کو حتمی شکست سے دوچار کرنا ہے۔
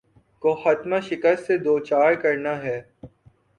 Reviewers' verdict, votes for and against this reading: rejected, 0, 2